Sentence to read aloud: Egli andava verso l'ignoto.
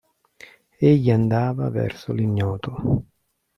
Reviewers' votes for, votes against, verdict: 0, 2, rejected